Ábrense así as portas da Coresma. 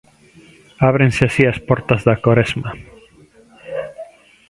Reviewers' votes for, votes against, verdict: 2, 0, accepted